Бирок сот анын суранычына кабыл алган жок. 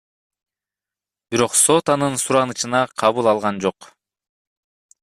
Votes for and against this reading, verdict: 2, 0, accepted